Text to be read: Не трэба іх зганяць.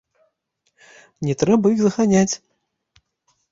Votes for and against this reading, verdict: 1, 2, rejected